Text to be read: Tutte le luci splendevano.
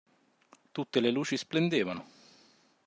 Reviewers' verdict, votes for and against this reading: accepted, 2, 0